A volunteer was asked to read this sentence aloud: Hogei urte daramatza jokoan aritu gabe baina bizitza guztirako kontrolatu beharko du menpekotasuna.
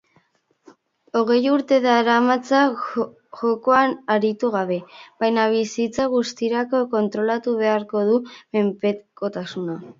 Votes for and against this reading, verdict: 0, 2, rejected